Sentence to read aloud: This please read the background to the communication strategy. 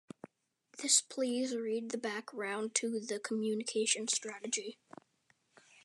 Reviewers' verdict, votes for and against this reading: rejected, 1, 2